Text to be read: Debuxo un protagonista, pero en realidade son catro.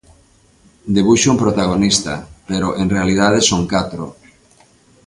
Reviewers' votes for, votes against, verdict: 2, 0, accepted